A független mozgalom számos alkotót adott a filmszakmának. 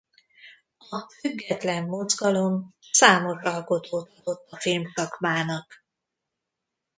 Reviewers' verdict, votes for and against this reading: rejected, 0, 2